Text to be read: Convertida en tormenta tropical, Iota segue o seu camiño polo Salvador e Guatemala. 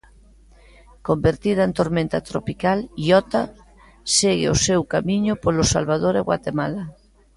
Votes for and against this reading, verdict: 2, 1, accepted